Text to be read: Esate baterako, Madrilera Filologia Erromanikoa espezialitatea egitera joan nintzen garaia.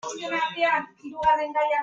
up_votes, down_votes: 0, 2